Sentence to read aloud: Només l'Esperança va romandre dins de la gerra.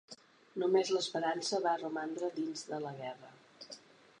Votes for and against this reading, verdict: 1, 3, rejected